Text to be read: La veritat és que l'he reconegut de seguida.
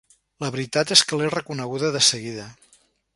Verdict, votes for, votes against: rejected, 0, 3